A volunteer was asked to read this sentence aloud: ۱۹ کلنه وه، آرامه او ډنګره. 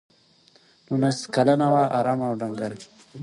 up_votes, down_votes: 0, 2